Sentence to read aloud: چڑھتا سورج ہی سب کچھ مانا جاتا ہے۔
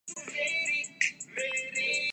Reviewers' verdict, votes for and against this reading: rejected, 0, 3